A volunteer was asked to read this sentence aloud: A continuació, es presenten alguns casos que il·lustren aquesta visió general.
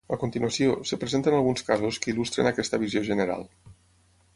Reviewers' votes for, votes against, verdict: 0, 6, rejected